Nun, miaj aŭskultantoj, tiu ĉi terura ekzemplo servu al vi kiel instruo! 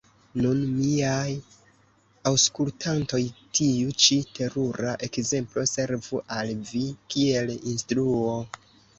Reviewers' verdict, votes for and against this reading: accepted, 2, 1